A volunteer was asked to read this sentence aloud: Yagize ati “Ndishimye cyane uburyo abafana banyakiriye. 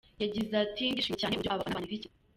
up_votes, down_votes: 0, 2